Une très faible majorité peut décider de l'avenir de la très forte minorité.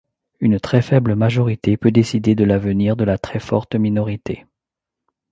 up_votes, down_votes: 2, 0